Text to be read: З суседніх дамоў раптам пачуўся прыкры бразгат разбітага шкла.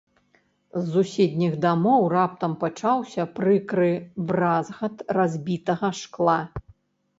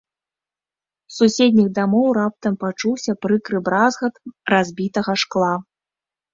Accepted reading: second